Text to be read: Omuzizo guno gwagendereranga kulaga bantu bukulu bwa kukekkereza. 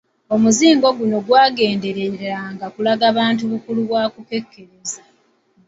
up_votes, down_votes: 0, 2